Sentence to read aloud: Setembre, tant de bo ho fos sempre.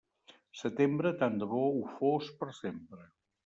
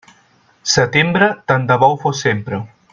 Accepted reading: second